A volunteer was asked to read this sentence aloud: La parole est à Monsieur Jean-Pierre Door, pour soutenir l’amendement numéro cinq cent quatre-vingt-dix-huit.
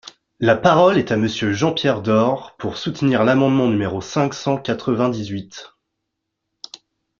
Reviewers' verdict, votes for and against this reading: accepted, 2, 0